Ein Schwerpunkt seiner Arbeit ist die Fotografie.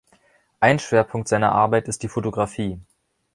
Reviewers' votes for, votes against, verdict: 2, 0, accepted